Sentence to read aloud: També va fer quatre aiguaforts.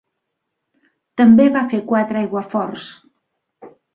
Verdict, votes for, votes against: accepted, 3, 0